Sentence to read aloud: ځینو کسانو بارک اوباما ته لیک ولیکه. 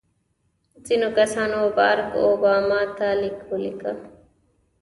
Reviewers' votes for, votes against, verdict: 1, 2, rejected